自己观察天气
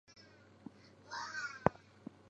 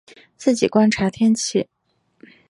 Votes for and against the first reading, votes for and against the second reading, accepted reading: 1, 2, 3, 0, second